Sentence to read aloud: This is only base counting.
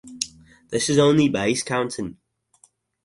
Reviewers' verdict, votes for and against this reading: accepted, 4, 0